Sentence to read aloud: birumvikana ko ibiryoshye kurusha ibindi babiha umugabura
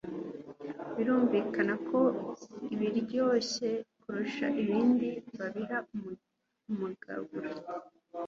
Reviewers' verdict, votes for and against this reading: rejected, 3, 4